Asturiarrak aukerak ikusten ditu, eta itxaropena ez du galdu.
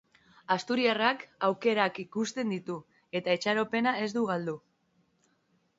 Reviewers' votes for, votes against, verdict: 2, 0, accepted